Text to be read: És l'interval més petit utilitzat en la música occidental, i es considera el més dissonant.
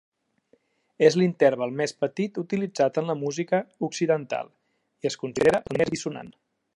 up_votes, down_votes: 2, 1